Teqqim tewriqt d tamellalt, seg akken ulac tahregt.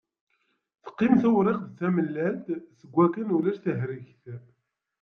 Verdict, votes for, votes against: accepted, 2, 1